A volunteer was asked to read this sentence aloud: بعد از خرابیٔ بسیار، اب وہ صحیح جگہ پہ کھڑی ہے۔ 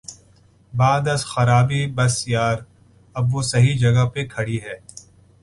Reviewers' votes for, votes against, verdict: 2, 0, accepted